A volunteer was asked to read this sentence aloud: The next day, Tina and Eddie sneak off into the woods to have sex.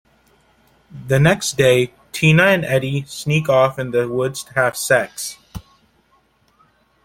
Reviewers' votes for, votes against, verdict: 0, 2, rejected